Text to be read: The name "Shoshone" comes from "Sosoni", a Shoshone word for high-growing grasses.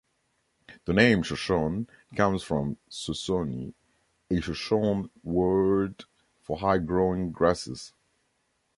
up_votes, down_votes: 2, 0